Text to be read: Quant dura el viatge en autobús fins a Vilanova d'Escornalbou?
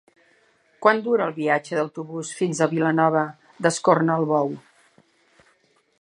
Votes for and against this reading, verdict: 0, 2, rejected